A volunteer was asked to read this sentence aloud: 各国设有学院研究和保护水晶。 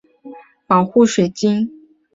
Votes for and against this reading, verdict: 2, 0, accepted